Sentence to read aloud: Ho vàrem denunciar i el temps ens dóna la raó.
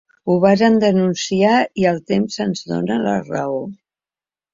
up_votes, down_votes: 0, 2